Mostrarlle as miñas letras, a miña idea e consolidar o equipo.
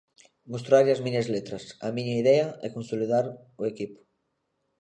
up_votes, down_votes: 2, 0